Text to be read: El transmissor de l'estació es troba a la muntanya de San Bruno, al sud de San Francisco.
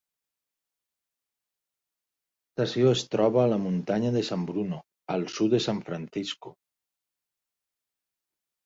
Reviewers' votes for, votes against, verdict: 0, 2, rejected